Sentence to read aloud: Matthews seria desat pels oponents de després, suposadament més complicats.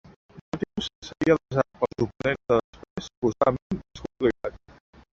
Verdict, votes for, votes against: rejected, 0, 2